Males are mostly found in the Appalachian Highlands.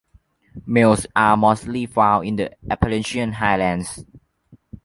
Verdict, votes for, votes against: accepted, 2, 0